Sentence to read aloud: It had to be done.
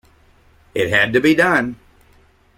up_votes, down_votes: 2, 0